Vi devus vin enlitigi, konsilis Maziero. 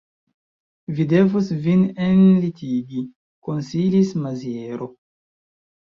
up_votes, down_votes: 1, 2